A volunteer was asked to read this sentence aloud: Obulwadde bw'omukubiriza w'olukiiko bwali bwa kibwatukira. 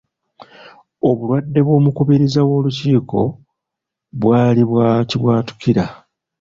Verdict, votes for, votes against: accepted, 2, 0